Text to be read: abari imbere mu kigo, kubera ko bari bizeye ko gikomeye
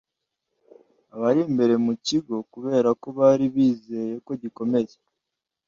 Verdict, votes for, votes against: accepted, 2, 0